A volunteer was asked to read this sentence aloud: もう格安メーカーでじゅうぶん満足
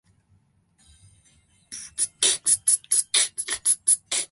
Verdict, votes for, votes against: rejected, 0, 2